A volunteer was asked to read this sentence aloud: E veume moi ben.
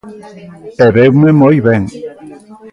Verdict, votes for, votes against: accepted, 2, 0